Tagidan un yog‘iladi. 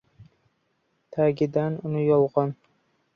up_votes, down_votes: 0, 2